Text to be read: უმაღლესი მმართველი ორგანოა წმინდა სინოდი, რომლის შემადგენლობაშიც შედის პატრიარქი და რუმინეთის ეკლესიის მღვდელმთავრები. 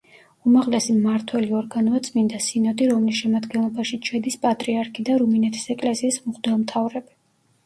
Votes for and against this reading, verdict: 2, 0, accepted